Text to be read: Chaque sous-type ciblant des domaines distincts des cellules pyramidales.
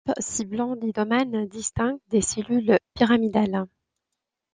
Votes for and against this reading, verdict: 1, 2, rejected